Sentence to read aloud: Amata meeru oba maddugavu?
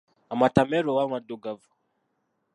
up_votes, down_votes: 0, 2